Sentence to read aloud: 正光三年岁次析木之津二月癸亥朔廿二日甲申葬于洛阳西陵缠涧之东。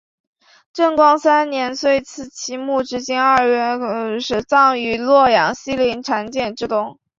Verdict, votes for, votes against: rejected, 0, 3